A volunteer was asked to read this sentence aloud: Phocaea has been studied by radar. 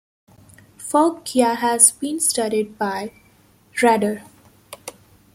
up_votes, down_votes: 1, 2